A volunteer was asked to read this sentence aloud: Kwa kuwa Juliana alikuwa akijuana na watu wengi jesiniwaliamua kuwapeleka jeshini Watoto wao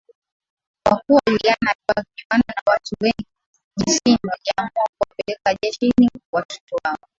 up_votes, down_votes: 4, 1